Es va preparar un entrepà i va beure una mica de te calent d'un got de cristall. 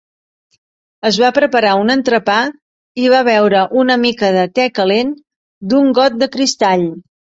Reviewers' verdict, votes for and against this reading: accepted, 2, 0